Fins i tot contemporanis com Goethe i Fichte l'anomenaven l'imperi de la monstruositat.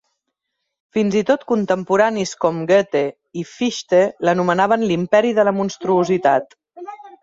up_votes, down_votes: 2, 0